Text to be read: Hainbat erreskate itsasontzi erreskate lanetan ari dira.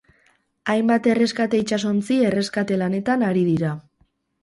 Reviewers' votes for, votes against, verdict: 4, 0, accepted